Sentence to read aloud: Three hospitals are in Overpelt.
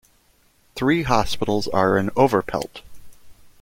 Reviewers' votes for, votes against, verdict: 2, 0, accepted